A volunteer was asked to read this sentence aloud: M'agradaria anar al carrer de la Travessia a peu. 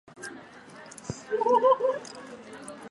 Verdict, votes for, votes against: rejected, 0, 4